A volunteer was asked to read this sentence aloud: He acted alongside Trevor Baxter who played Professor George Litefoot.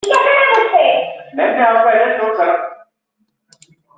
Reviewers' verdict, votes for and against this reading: rejected, 0, 2